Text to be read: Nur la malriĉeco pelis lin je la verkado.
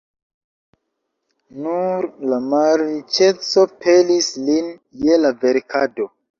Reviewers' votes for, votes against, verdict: 0, 2, rejected